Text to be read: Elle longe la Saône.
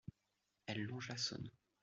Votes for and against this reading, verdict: 2, 0, accepted